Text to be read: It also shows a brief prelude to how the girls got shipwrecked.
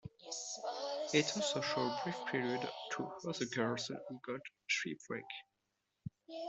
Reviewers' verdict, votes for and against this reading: rejected, 1, 3